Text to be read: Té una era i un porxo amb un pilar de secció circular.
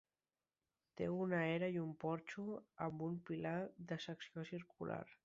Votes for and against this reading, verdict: 4, 0, accepted